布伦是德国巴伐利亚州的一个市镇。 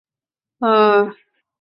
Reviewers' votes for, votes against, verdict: 1, 2, rejected